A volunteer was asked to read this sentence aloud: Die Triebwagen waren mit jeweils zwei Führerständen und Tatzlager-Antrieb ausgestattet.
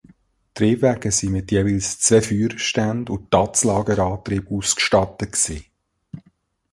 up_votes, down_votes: 0, 3